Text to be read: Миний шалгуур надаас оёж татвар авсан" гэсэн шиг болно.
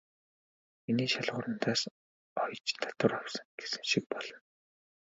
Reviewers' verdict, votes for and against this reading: accepted, 4, 1